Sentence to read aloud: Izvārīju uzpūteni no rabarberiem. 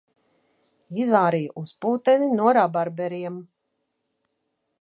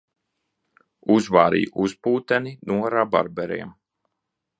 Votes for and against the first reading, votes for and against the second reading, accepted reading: 2, 0, 0, 2, first